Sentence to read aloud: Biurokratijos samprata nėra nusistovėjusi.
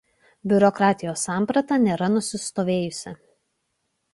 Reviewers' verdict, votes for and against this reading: accepted, 2, 0